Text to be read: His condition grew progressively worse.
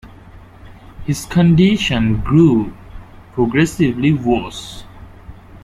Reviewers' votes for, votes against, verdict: 0, 2, rejected